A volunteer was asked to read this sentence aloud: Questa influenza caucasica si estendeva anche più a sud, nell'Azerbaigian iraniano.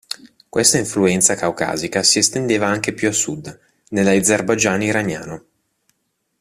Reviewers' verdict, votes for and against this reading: accepted, 2, 0